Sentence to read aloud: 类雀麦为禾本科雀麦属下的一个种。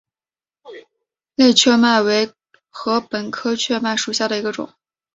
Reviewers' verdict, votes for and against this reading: accepted, 2, 0